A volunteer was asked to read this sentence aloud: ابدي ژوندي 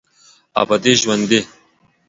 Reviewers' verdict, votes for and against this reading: accepted, 2, 0